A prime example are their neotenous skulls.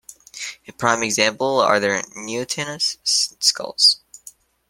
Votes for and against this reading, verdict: 2, 1, accepted